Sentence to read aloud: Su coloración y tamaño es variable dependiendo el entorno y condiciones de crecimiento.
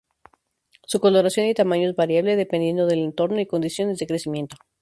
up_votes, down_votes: 0, 2